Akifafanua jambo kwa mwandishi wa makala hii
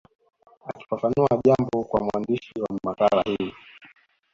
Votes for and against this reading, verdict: 1, 2, rejected